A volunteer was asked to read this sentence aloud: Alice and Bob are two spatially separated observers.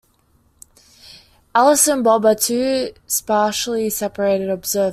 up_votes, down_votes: 0, 2